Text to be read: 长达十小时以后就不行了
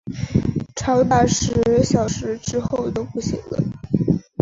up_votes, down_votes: 1, 3